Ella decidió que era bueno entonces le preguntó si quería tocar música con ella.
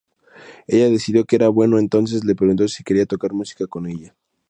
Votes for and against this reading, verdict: 2, 0, accepted